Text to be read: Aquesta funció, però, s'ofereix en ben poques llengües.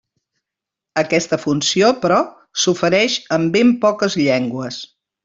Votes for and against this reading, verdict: 3, 0, accepted